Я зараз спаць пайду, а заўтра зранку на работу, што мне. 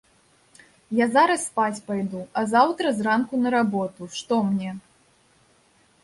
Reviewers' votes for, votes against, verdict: 2, 0, accepted